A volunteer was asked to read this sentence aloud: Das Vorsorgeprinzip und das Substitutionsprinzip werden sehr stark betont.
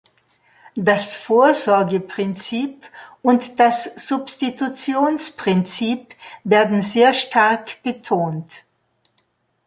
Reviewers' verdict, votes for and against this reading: accepted, 2, 0